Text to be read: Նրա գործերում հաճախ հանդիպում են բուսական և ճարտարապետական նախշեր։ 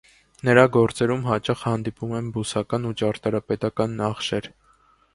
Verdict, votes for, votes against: rejected, 1, 2